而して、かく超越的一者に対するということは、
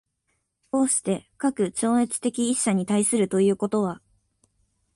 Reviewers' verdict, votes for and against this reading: accepted, 2, 0